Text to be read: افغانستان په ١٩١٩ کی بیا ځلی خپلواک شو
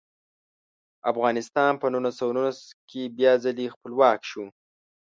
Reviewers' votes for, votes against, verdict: 0, 2, rejected